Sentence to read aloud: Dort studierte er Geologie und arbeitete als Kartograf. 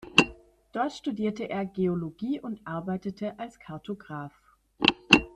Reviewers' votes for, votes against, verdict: 2, 0, accepted